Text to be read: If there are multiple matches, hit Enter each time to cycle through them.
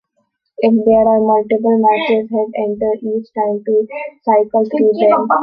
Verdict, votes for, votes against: rejected, 1, 4